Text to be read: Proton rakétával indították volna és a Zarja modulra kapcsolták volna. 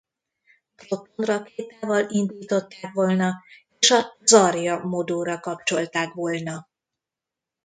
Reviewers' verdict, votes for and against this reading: rejected, 0, 2